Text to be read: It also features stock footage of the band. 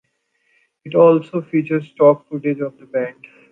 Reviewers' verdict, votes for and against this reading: accepted, 2, 1